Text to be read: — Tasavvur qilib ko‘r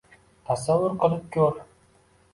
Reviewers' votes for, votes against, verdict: 2, 0, accepted